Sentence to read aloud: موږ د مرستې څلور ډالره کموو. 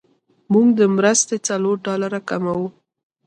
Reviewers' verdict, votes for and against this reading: accepted, 2, 1